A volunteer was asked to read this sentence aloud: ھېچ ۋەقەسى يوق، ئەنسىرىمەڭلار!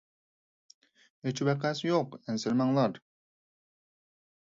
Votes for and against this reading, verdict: 4, 0, accepted